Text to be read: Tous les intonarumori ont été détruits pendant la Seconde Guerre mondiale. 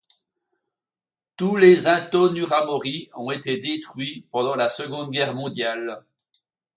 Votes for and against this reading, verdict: 1, 2, rejected